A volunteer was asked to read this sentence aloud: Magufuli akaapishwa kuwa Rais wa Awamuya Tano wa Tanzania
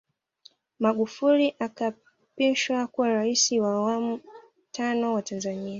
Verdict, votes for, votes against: accepted, 2, 1